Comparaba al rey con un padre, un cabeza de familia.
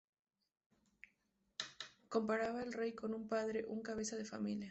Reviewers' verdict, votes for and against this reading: accepted, 2, 0